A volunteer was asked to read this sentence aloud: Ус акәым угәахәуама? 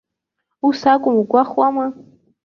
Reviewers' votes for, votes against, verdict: 1, 2, rejected